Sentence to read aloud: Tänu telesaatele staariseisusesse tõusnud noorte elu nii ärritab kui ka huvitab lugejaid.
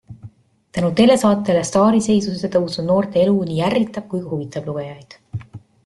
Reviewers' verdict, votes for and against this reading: rejected, 1, 2